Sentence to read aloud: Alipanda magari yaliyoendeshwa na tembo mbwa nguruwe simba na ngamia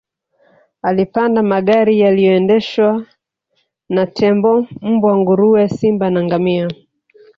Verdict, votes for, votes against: accepted, 3, 1